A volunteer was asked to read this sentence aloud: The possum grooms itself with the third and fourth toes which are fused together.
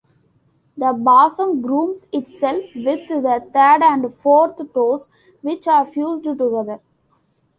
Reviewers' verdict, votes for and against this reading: rejected, 0, 2